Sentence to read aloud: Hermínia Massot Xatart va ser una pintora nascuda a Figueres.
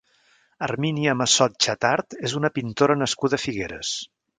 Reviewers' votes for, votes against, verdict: 0, 2, rejected